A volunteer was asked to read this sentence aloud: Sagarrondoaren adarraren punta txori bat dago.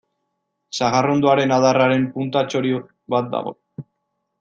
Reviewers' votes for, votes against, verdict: 1, 2, rejected